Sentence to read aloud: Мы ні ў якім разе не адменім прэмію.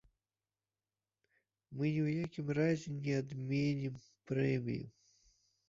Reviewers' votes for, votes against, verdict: 0, 2, rejected